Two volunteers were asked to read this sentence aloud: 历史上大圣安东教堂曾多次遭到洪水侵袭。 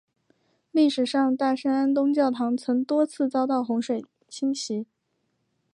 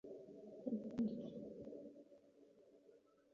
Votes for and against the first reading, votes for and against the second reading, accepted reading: 2, 0, 0, 2, first